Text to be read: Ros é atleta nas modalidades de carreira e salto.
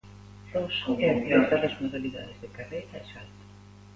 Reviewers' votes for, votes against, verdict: 0, 2, rejected